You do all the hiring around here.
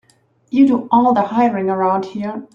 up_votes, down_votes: 3, 0